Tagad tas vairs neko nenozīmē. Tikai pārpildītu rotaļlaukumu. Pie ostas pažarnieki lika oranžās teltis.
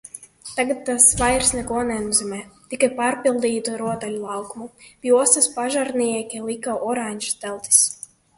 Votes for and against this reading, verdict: 1, 2, rejected